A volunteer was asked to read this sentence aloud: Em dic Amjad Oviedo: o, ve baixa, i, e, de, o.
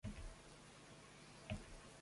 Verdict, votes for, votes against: rejected, 0, 2